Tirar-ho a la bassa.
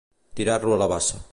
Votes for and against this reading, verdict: 1, 2, rejected